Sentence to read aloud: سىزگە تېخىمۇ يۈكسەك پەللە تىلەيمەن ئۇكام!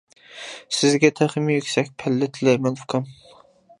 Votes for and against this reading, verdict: 2, 0, accepted